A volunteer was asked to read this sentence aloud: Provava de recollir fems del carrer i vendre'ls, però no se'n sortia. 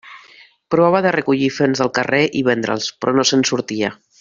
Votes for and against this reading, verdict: 0, 2, rejected